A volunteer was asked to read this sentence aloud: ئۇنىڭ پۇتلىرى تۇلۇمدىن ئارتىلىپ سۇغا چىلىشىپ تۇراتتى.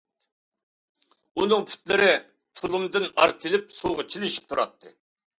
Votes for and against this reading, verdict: 2, 0, accepted